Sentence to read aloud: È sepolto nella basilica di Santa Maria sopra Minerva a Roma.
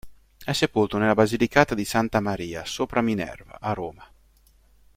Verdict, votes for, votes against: rejected, 1, 2